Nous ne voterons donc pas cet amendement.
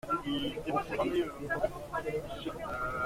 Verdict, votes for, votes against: rejected, 0, 2